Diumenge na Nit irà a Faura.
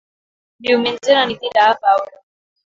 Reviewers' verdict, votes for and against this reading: rejected, 0, 2